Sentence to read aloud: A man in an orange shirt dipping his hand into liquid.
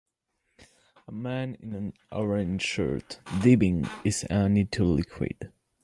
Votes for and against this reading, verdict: 1, 2, rejected